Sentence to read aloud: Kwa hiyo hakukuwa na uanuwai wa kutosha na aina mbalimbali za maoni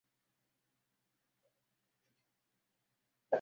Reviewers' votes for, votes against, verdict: 0, 2, rejected